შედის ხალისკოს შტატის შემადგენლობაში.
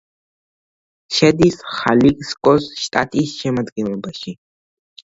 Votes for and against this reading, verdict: 1, 2, rejected